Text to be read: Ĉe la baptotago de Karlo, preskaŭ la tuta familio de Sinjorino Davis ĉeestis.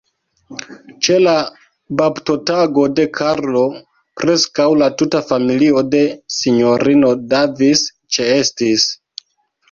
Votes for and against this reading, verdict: 1, 2, rejected